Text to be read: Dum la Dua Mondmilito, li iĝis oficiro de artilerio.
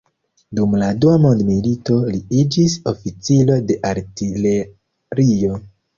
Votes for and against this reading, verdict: 1, 2, rejected